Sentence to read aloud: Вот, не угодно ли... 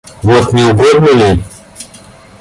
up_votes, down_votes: 2, 0